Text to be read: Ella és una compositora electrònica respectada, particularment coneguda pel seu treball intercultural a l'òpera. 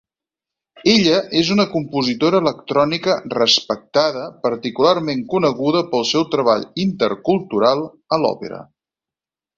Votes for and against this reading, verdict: 4, 0, accepted